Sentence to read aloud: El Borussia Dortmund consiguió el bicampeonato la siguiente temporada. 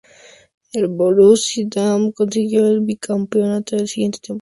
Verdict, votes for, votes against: rejected, 0, 2